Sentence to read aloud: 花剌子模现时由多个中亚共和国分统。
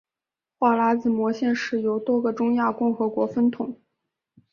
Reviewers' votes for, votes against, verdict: 2, 1, accepted